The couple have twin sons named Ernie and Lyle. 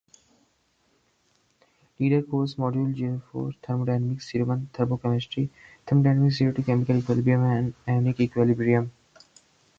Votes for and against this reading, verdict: 2, 4, rejected